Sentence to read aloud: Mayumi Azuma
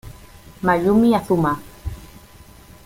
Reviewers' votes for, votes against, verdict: 2, 0, accepted